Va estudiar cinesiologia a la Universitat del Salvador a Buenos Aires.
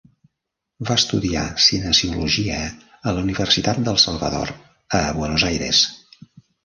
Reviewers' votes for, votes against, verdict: 1, 2, rejected